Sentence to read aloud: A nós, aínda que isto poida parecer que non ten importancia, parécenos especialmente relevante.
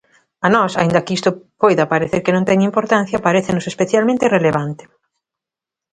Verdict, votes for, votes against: accepted, 2, 0